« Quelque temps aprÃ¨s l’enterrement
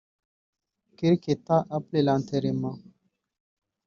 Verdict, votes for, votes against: rejected, 3, 4